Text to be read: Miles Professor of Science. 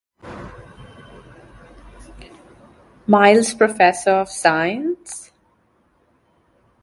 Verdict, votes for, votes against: accepted, 2, 0